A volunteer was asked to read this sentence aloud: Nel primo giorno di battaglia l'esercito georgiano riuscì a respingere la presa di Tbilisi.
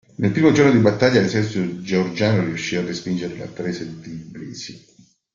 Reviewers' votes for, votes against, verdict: 0, 2, rejected